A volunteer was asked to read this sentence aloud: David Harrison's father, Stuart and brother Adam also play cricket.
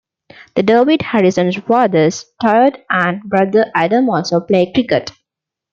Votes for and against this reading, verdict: 0, 2, rejected